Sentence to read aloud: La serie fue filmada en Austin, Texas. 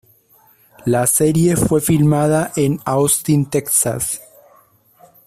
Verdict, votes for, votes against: rejected, 0, 2